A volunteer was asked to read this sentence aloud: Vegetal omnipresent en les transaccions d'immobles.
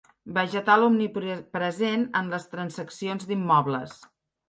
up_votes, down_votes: 3, 1